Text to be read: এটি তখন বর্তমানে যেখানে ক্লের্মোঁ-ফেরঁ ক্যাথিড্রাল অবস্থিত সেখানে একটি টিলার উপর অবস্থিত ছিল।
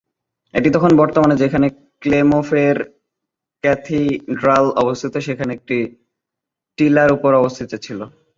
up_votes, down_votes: 2, 0